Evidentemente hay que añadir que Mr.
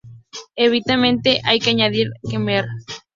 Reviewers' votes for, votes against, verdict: 0, 4, rejected